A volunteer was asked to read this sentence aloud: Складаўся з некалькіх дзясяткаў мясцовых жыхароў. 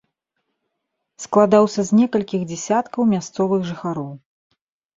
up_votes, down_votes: 1, 2